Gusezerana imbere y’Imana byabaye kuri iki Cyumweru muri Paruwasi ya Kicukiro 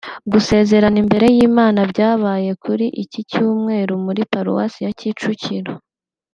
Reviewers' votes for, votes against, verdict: 2, 0, accepted